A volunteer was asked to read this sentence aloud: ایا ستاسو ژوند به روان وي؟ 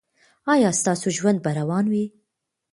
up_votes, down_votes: 1, 2